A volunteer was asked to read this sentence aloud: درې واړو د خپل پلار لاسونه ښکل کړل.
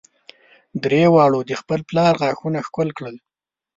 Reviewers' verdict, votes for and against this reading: rejected, 1, 2